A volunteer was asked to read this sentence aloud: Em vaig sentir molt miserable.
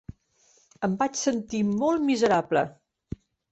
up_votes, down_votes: 5, 0